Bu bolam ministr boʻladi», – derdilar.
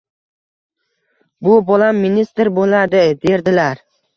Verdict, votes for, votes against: accepted, 2, 0